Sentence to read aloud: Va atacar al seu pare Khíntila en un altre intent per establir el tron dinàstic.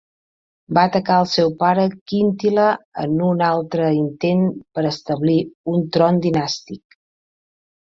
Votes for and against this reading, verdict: 1, 3, rejected